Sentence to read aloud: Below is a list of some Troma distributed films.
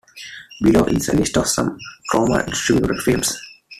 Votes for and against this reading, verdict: 2, 1, accepted